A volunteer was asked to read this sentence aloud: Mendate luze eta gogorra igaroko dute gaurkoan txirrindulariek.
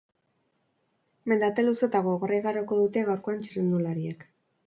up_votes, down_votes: 6, 0